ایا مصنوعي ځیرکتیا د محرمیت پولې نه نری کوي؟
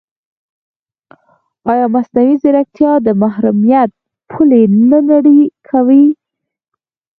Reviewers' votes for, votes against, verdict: 0, 4, rejected